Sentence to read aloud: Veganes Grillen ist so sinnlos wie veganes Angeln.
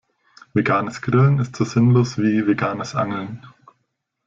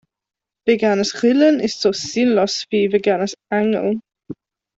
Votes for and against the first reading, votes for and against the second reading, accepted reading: 2, 0, 1, 3, first